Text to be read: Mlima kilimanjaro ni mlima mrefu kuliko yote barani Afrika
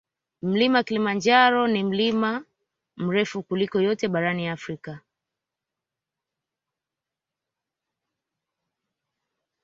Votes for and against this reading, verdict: 2, 0, accepted